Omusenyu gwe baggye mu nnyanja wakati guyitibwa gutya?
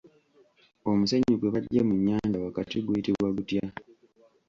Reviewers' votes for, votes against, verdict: 0, 2, rejected